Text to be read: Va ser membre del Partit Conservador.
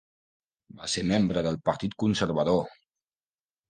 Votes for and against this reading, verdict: 3, 1, accepted